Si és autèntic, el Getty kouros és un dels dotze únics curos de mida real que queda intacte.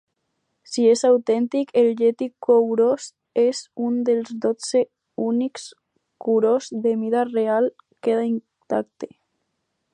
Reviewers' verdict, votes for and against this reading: rejected, 2, 2